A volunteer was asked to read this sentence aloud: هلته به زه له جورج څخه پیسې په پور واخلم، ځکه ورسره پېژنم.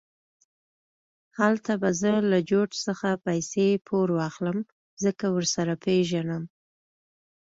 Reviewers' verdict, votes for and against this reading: accepted, 2, 0